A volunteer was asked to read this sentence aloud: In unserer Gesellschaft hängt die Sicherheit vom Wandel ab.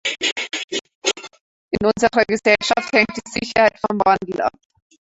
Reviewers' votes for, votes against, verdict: 0, 2, rejected